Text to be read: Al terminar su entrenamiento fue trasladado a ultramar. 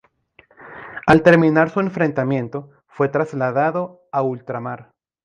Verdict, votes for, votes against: rejected, 0, 2